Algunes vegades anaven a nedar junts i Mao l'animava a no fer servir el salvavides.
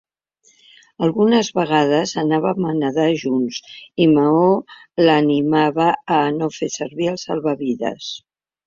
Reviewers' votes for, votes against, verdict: 0, 2, rejected